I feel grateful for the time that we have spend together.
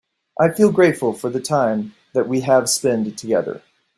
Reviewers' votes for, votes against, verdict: 2, 0, accepted